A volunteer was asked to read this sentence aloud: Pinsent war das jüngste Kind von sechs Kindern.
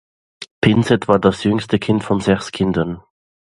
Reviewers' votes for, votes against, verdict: 2, 0, accepted